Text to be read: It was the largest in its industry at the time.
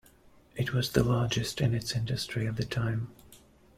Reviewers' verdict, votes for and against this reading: accepted, 2, 0